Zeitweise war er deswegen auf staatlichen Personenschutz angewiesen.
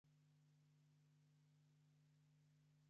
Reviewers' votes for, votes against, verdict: 0, 3, rejected